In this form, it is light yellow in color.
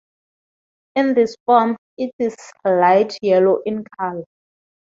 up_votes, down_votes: 2, 0